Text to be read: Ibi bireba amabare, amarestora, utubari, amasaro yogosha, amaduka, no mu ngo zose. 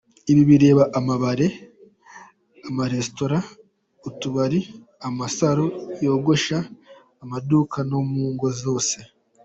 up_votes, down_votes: 2, 1